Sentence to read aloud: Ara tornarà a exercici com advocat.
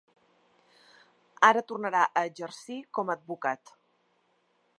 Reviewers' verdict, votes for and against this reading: rejected, 1, 2